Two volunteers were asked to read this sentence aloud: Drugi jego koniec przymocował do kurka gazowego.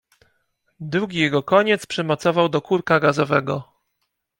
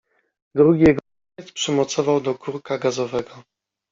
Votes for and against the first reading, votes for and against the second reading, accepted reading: 2, 0, 0, 2, first